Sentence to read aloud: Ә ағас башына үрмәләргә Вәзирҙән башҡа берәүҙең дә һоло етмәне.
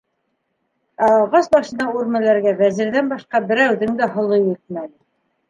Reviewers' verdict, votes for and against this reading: accepted, 2, 1